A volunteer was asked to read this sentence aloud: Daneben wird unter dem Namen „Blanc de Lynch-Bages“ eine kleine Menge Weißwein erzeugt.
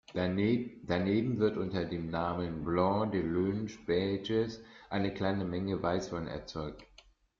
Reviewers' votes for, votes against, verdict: 0, 2, rejected